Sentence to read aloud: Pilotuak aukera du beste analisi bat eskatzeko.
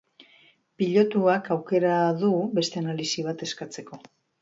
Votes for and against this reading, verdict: 3, 0, accepted